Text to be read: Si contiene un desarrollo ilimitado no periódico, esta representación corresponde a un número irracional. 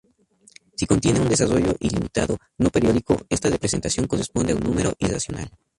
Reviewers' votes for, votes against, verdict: 2, 0, accepted